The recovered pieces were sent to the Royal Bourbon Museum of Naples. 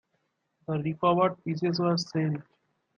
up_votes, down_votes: 0, 2